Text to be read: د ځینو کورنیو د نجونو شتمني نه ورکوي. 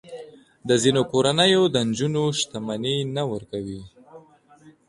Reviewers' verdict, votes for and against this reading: accepted, 2, 0